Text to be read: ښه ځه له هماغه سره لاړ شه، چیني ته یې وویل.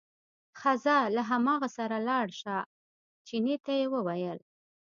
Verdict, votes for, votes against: rejected, 1, 2